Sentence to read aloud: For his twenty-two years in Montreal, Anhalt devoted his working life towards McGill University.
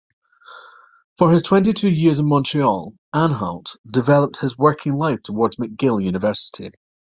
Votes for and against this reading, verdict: 0, 2, rejected